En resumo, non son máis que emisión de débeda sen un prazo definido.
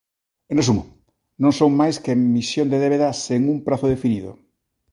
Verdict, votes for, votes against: accepted, 3, 0